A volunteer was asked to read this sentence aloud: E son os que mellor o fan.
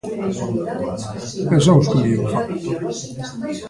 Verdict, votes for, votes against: accepted, 2, 1